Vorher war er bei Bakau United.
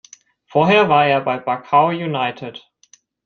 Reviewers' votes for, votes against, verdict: 2, 0, accepted